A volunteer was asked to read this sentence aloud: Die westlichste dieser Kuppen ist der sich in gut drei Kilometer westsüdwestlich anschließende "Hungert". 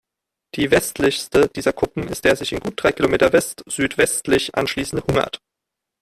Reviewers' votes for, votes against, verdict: 2, 0, accepted